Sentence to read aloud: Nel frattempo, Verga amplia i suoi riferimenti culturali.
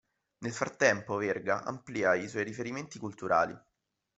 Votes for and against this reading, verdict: 1, 2, rejected